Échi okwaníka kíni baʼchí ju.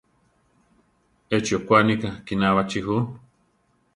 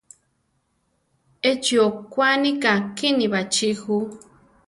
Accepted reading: second